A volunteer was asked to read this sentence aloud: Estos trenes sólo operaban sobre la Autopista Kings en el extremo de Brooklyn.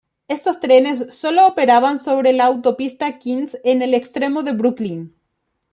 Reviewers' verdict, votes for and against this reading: accepted, 2, 0